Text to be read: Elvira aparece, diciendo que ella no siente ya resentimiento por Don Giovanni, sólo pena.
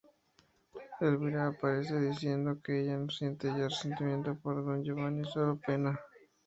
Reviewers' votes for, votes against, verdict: 0, 2, rejected